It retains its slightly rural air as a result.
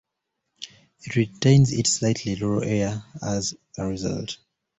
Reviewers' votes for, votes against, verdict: 2, 0, accepted